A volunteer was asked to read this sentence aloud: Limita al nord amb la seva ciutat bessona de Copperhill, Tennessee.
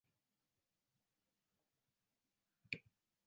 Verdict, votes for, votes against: rejected, 0, 2